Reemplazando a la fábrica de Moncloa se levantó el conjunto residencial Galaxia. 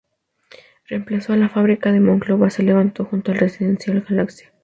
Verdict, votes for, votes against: rejected, 0, 2